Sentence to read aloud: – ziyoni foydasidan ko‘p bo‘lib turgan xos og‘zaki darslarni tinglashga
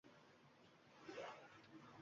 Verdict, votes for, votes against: rejected, 0, 2